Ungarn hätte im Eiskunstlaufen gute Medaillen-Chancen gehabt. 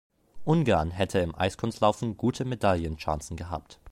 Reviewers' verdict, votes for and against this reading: accepted, 2, 0